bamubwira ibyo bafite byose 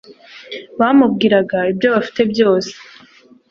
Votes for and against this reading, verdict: 0, 2, rejected